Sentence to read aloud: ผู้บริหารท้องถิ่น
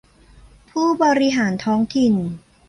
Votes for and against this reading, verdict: 2, 0, accepted